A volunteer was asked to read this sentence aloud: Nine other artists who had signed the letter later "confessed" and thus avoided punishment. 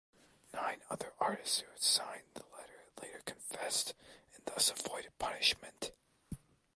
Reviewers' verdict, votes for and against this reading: accepted, 2, 0